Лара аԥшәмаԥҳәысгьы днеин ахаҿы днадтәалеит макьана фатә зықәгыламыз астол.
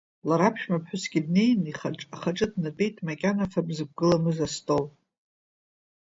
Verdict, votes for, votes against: rejected, 1, 2